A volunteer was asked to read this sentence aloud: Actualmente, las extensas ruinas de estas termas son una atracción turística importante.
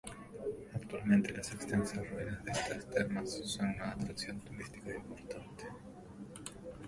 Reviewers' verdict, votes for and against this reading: rejected, 0, 2